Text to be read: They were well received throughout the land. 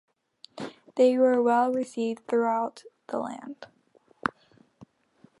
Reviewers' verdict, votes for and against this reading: accepted, 2, 0